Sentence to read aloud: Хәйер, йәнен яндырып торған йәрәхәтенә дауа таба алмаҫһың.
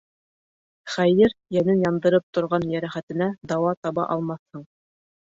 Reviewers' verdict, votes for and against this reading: rejected, 1, 2